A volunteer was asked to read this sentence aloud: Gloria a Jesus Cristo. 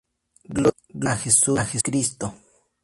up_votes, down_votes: 0, 2